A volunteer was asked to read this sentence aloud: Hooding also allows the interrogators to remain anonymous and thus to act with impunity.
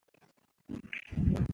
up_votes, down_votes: 0, 2